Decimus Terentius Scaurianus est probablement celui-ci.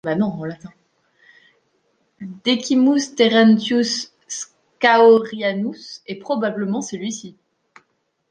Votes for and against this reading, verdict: 1, 2, rejected